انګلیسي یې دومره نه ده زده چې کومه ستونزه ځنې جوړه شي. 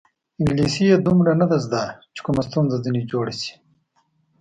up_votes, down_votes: 2, 0